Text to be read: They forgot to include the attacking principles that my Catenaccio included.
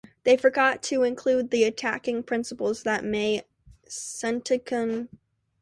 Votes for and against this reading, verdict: 0, 2, rejected